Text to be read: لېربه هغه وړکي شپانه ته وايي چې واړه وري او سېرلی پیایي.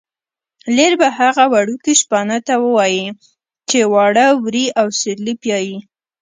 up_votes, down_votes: 2, 0